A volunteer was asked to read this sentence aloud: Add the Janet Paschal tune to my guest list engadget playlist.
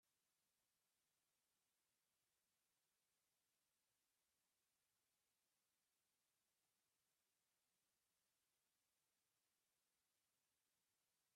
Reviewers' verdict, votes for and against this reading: rejected, 0, 2